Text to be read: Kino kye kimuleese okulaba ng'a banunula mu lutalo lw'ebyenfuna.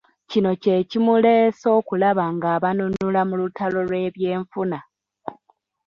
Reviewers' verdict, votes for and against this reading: accepted, 2, 1